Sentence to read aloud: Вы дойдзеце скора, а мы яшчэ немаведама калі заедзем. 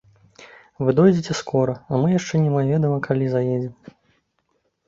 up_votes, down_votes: 0, 2